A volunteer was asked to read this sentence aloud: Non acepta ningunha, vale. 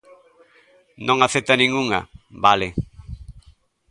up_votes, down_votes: 2, 0